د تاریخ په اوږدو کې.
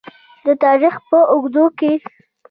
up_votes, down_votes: 1, 2